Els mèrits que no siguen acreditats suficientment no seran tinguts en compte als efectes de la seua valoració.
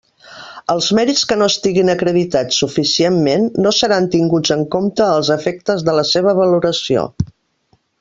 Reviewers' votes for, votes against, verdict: 0, 3, rejected